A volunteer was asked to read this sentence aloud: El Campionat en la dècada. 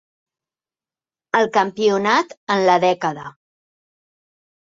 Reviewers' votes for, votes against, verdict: 3, 0, accepted